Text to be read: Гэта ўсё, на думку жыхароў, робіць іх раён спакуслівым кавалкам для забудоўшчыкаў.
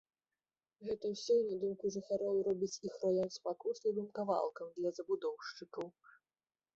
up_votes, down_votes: 4, 0